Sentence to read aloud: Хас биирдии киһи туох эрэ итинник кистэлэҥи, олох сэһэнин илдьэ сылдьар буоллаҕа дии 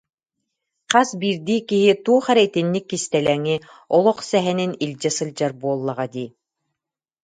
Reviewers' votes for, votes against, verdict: 2, 0, accepted